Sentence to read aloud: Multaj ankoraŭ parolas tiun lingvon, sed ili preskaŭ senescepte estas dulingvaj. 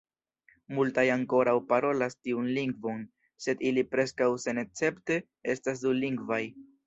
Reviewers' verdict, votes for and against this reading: rejected, 1, 2